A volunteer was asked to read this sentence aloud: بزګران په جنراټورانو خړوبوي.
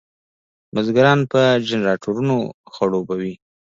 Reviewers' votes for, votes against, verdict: 2, 0, accepted